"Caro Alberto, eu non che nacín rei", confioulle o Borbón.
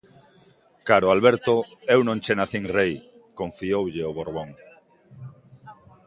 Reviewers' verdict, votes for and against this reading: rejected, 1, 2